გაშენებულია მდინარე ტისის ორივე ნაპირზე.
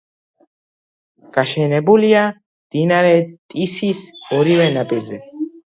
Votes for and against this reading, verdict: 2, 0, accepted